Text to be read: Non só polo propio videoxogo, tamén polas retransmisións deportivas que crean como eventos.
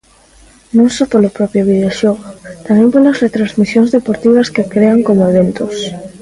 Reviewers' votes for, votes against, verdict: 0, 2, rejected